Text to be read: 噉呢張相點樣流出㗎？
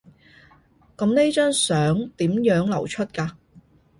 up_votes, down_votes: 2, 0